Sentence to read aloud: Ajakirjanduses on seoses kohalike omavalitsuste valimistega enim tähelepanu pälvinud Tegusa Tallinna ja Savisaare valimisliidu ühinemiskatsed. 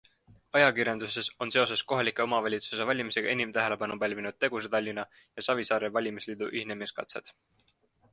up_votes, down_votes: 2, 0